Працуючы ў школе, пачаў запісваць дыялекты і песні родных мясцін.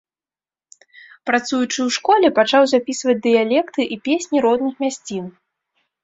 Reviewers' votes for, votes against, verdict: 2, 0, accepted